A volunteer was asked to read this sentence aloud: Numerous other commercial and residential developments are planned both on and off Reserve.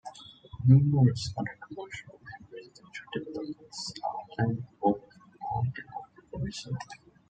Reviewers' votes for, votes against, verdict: 0, 2, rejected